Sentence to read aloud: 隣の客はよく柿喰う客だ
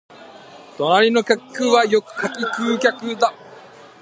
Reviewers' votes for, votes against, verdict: 0, 2, rejected